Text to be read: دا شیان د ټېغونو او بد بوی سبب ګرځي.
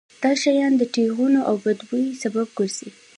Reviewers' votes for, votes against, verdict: 2, 0, accepted